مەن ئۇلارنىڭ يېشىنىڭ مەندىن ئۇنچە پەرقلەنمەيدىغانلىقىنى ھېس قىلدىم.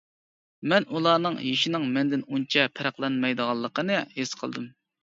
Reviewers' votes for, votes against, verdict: 2, 0, accepted